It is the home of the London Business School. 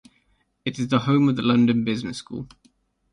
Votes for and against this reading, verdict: 3, 0, accepted